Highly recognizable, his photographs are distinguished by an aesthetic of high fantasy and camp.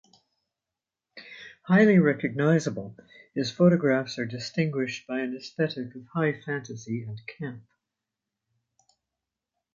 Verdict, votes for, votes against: accepted, 2, 0